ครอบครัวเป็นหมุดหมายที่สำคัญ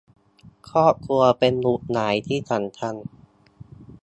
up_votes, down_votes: 2, 0